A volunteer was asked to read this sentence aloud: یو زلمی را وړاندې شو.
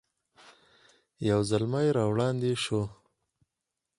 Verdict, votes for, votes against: rejected, 0, 4